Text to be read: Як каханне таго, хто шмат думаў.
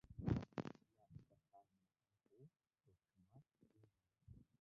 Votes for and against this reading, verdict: 0, 2, rejected